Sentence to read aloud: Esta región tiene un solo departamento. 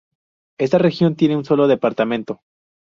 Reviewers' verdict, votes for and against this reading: rejected, 0, 2